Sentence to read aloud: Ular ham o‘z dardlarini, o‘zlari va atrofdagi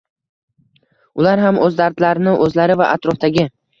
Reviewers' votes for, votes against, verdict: 2, 0, accepted